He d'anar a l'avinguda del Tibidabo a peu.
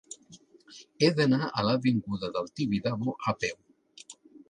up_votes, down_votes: 2, 0